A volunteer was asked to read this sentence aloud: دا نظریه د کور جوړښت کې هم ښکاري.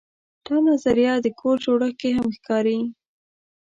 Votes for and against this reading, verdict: 2, 0, accepted